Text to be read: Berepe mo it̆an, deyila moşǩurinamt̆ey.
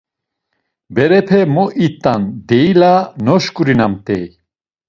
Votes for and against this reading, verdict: 1, 2, rejected